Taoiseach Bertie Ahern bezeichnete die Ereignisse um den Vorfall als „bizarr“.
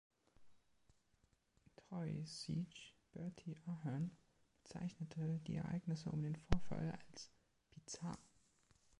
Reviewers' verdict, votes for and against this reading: accepted, 2, 0